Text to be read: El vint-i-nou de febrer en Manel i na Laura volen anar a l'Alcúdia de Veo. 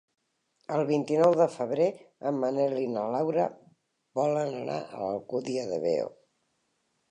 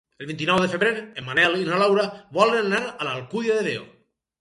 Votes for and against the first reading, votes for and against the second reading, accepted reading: 3, 1, 2, 4, first